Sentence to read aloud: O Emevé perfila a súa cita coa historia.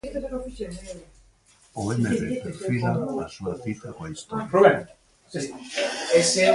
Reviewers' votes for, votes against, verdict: 0, 4, rejected